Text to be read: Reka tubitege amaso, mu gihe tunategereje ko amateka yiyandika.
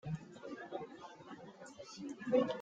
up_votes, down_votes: 0, 3